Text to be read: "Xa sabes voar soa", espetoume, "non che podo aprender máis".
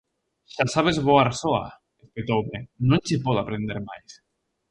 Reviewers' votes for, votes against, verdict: 0, 2, rejected